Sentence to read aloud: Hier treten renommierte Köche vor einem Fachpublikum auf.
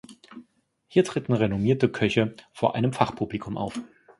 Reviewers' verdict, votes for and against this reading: rejected, 0, 2